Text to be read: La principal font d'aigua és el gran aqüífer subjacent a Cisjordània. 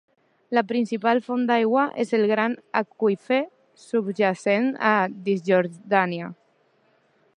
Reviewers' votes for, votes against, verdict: 1, 2, rejected